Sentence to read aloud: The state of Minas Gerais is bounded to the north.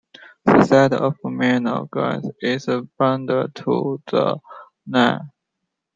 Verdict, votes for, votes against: rejected, 1, 2